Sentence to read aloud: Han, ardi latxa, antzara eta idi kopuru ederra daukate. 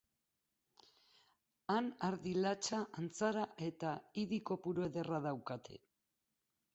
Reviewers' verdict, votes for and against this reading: accepted, 2, 0